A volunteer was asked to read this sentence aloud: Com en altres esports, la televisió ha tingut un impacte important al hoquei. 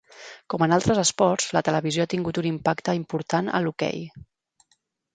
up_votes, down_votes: 6, 0